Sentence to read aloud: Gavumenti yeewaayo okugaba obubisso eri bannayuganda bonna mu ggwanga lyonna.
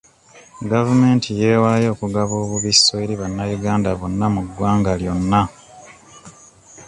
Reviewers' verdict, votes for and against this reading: accepted, 2, 0